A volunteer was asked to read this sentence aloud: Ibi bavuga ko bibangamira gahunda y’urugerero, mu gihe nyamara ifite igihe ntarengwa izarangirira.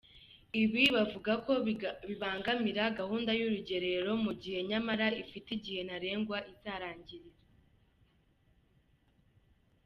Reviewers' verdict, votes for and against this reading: accepted, 2, 0